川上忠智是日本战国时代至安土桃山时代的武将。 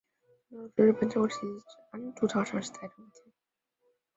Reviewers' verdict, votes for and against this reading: rejected, 0, 2